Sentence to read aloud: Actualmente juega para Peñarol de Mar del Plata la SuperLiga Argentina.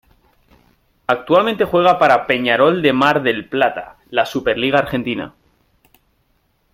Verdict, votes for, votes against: accepted, 2, 0